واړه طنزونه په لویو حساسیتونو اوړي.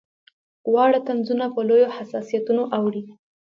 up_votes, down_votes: 3, 0